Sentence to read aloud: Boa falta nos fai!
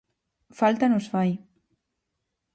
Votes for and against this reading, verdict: 0, 4, rejected